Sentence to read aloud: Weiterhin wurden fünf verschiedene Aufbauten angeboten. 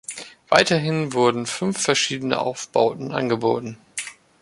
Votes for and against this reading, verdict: 2, 1, accepted